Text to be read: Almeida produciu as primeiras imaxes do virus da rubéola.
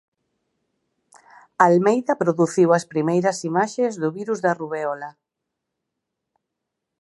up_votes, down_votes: 6, 0